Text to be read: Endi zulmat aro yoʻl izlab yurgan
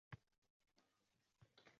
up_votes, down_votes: 0, 3